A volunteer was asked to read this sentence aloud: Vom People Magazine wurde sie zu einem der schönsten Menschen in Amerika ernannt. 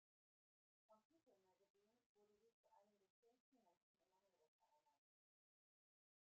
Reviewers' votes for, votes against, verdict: 0, 2, rejected